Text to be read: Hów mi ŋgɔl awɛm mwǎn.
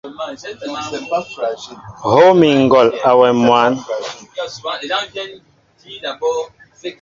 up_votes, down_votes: 0, 2